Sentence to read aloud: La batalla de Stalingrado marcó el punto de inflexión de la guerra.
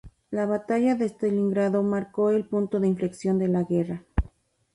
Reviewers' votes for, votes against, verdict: 0, 2, rejected